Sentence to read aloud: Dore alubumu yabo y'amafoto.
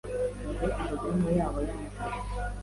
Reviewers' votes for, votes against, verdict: 2, 0, accepted